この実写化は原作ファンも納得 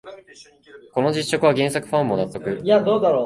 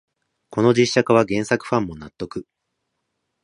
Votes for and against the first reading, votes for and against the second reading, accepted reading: 1, 2, 2, 0, second